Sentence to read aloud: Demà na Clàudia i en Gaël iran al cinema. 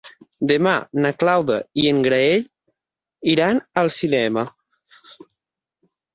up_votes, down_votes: 0, 6